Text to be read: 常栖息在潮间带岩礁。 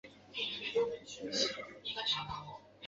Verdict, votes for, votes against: rejected, 0, 2